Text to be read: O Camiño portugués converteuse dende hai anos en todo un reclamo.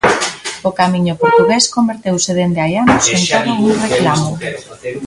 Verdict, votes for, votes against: rejected, 0, 2